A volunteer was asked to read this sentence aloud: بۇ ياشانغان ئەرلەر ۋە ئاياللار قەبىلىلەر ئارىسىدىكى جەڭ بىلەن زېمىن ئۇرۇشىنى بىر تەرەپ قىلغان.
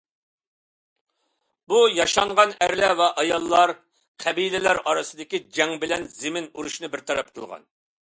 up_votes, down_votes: 2, 0